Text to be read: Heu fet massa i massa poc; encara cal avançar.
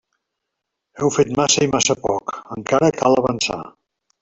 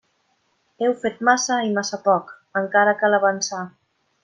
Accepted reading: second